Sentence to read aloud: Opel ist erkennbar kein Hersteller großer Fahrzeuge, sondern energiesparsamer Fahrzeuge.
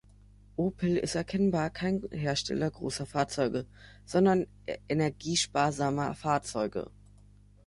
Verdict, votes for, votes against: rejected, 1, 3